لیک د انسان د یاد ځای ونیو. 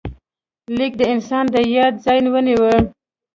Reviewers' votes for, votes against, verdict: 2, 1, accepted